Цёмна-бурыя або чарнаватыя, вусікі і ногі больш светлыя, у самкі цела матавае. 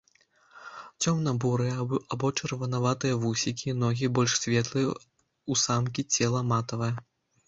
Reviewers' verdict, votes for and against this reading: rejected, 0, 2